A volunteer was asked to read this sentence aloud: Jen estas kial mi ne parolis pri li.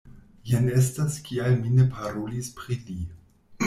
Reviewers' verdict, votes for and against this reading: accepted, 2, 0